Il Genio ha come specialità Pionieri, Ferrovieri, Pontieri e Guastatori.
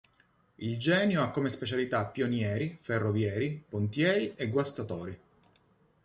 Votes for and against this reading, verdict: 2, 0, accepted